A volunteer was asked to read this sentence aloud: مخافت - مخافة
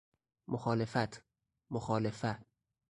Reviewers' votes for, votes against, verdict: 2, 4, rejected